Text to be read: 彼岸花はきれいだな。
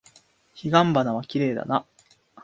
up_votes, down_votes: 2, 0